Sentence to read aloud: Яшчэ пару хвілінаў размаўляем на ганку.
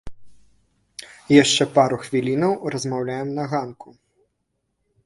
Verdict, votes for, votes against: rejected, 1, 2